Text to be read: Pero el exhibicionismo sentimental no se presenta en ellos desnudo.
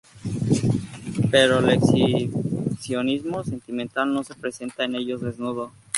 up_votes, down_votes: 2, 0